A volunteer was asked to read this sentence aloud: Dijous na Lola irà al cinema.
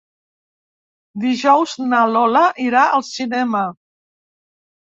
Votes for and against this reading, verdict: 3, 0, accepted